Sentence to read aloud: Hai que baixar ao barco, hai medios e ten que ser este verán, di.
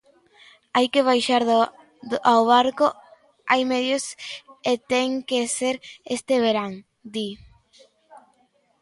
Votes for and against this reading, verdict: 0, 2, rejected